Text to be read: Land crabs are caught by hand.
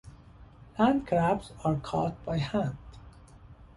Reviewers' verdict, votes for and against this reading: accepted, 2, 0